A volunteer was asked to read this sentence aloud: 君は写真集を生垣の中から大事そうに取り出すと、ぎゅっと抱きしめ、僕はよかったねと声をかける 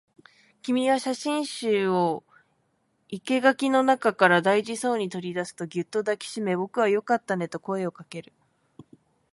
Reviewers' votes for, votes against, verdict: 7, 8, rejected